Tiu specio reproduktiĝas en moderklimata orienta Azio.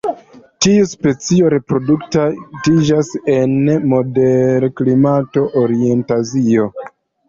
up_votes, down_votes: 1, 2